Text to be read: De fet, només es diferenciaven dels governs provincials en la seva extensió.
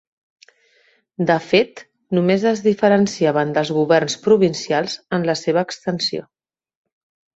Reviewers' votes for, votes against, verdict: 3, 0, accepted